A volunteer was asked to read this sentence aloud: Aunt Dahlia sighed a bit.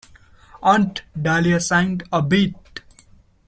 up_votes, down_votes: 0, 2